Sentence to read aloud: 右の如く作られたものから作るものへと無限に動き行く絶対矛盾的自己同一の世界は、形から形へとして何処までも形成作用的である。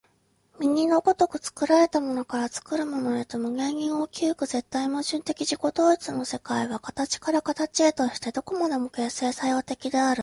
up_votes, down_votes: 2, 0